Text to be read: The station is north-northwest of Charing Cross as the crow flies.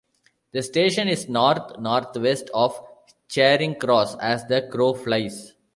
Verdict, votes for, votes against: accepted, 2, 1